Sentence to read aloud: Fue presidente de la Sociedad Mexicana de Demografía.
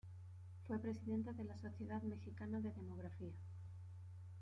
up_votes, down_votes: 0, 2